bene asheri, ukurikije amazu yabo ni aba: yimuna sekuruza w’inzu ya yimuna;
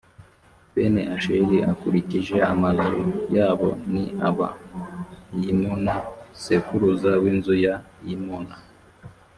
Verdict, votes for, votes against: rejected, 1, 2